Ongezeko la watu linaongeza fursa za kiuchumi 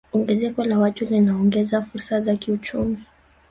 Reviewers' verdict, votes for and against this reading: rejected, 1, 2